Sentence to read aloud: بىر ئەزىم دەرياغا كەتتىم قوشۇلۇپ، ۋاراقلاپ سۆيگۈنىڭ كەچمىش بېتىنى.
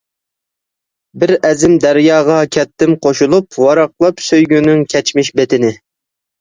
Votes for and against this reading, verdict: 2, 0, accepted